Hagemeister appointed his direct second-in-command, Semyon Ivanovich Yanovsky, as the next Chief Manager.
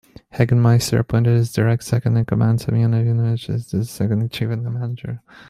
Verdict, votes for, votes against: rejected, 0, 2